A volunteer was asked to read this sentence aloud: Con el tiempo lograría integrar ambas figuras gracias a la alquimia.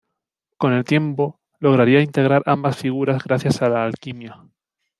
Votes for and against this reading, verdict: 2, 0, accepted